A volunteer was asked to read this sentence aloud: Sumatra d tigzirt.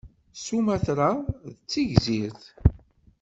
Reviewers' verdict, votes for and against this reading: accepted, 2, 0